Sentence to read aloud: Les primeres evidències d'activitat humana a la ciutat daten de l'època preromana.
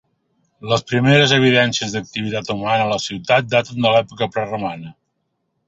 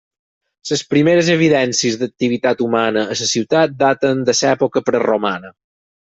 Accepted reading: first